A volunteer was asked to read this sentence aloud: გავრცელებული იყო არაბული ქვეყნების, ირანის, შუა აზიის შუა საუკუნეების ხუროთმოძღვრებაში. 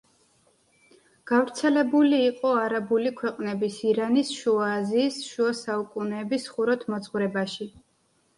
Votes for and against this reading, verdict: 2, 0, accepted